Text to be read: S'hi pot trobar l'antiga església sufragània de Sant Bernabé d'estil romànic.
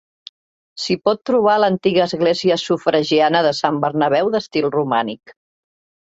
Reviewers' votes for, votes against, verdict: 0, 2, rejected